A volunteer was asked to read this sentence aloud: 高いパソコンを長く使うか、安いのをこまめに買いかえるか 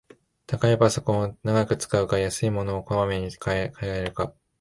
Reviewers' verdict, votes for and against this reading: rejected, 1, 2